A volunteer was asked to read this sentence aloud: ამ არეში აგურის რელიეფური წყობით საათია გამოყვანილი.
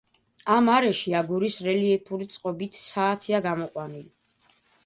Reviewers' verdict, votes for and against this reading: accepted, 2, 0